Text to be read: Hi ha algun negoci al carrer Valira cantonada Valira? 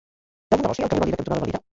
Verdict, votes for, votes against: rejected, 0, 2